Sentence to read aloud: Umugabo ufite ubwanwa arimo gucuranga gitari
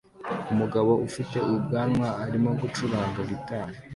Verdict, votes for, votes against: accepted, 2, 0